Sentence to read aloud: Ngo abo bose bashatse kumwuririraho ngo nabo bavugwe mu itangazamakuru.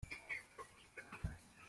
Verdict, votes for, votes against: rejected, 0, 2